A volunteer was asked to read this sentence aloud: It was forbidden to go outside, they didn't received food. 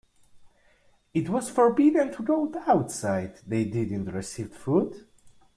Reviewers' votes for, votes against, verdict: 2, 0, accepted